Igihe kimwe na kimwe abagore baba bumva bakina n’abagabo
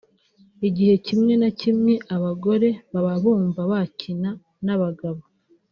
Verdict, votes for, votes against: rejected, 1, 2